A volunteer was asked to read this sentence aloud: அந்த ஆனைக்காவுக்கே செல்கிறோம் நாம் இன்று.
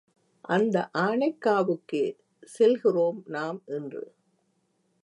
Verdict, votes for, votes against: accepted, 3, 0